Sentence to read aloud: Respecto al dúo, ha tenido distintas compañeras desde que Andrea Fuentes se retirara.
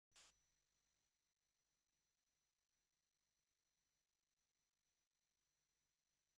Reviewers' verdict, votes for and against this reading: rejected, 0, 2